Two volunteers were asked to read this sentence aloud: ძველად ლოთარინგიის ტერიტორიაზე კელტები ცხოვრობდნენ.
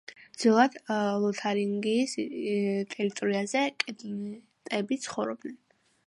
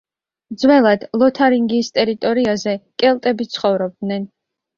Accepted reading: second